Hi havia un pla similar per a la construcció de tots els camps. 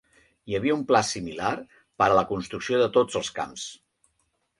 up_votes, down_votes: 4, 0